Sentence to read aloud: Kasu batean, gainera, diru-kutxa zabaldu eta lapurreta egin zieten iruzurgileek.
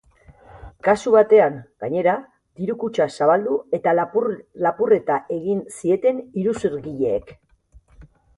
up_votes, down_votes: 0, 3